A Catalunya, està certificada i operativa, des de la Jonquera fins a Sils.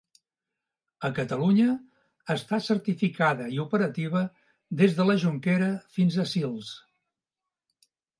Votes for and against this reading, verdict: 2, 0, accepted